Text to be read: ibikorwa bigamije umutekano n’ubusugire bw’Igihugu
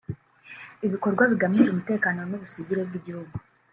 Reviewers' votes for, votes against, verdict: 1, 2, rejected